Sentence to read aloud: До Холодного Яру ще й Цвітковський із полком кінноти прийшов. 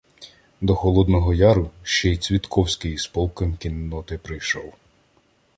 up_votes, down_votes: 2, 0